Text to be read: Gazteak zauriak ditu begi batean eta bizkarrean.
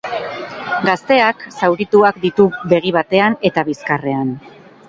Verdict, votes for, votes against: rejected, 0, 4